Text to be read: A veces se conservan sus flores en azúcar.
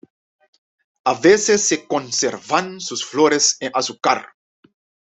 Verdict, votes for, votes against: accepted, 2, 1